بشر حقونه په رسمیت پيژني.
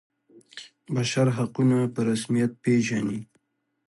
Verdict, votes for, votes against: accepted, 2, 0